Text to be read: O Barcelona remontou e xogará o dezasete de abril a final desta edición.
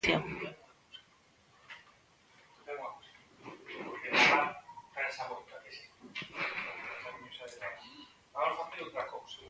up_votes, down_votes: 0, 2